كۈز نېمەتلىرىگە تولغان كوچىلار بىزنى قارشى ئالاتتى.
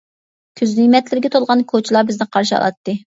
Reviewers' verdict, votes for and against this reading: rejected, 1, 2